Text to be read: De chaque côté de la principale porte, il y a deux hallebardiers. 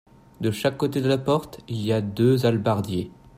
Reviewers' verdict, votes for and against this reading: rejected, 1, 2